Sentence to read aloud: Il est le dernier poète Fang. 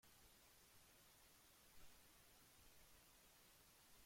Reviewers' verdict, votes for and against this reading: rejected, 1, 2